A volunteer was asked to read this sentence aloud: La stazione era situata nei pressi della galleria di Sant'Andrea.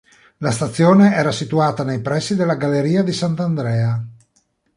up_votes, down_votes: 2, 0